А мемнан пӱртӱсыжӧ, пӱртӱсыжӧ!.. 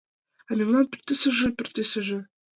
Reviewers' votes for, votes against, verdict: 1, 2, rejected